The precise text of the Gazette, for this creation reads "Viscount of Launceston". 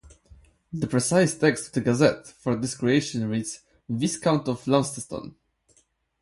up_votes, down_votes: 4, 0